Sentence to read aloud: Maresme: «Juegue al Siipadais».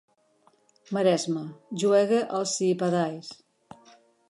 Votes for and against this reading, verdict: 4, 1, accepted